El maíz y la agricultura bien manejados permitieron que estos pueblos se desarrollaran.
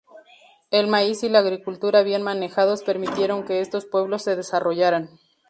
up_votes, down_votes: 2, 0